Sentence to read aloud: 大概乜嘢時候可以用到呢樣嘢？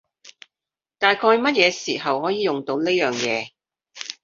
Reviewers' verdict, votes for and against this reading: accepted, 2, 0